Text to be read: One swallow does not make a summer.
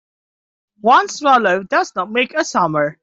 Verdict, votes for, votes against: accepted, 2, 0